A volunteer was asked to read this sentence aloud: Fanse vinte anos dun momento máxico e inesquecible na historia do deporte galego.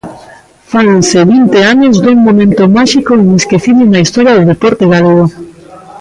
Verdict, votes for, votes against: rejected, 1, 2